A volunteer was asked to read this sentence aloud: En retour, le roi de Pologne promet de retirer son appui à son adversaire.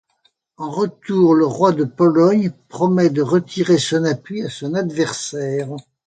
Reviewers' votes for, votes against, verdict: 2, 0, accepted